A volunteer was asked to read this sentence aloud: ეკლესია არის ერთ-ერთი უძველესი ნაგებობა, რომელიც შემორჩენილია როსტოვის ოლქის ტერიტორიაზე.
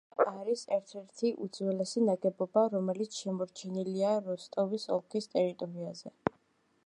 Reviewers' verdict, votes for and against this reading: rejected, 1, 2